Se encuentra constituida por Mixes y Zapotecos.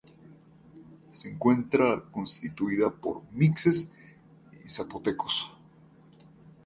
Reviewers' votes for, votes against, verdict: 6, 0, accepted